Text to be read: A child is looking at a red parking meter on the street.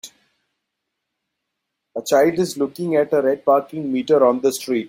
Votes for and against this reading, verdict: 2, 1, accepted